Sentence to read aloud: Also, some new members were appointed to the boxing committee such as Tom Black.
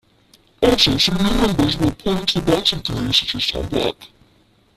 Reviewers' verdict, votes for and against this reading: rejected, 0, 2